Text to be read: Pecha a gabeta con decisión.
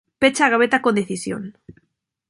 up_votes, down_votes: 2, 0